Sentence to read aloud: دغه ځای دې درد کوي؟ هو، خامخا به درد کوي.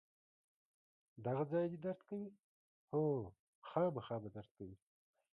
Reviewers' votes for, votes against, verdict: 1, 2, rejected